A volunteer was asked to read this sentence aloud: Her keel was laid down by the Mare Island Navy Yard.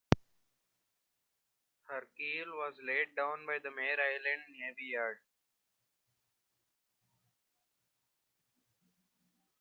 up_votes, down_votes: 2, 1